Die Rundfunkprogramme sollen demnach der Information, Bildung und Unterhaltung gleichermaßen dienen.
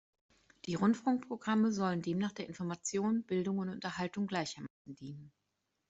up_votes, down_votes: 2, 0